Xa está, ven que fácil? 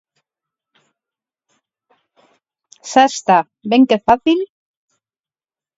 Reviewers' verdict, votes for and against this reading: rejected, 0, 4